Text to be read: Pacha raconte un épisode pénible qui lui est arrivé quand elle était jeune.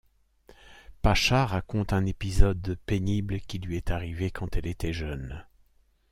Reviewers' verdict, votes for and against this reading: accepted, 2, 0